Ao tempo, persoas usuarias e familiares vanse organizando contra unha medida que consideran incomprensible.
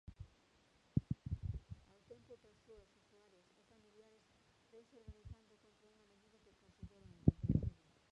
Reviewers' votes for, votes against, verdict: 0, 2, rejected